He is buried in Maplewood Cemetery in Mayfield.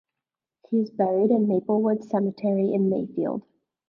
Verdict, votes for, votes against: accepted, 2, 1